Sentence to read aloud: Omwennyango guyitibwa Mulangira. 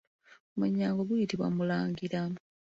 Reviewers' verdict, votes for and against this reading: accepted, 2, 1